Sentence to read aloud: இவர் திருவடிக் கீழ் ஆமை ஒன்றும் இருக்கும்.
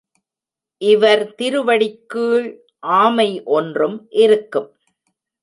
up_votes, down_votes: 2, 1